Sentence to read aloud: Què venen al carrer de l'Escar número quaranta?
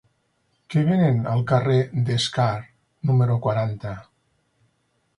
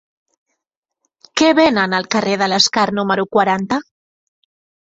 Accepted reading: second